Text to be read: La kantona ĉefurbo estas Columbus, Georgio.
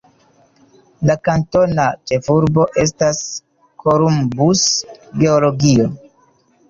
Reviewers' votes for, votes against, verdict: 0, 2, rejected